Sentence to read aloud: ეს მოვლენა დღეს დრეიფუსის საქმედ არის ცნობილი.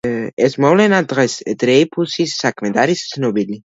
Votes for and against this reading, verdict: 1, 2, rejected